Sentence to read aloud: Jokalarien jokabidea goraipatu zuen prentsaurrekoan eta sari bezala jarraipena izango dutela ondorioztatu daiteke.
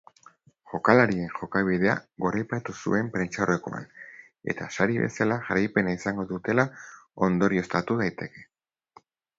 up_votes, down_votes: 2, 0